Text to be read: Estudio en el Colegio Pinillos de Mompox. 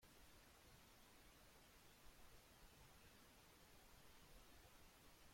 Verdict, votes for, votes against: rejected, 0, 2